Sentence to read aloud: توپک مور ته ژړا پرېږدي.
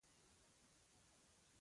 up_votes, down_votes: 0, 2